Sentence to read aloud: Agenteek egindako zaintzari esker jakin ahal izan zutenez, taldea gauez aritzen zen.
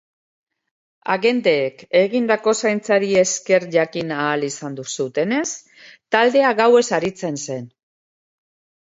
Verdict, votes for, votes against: rejected, 0, 2